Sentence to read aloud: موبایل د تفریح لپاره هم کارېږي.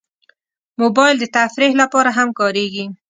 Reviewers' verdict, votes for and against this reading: accepted, 2, 0